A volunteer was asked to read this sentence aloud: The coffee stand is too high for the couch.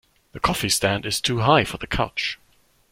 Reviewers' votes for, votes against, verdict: 2, 0, accepted